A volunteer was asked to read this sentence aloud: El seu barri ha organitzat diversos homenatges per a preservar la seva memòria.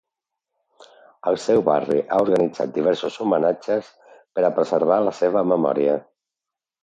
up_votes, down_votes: 2, 0